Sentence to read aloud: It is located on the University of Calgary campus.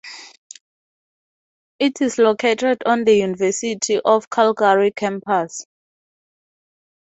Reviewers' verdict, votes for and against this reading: rejected, 2, 2